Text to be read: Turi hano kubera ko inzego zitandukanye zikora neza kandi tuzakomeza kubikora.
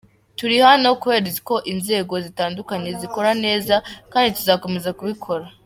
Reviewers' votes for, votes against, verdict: 3, 2, accepted